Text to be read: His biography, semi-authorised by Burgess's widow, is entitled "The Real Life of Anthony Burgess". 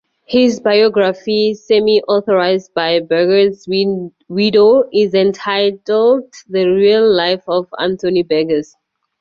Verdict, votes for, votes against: rejected, 0, 4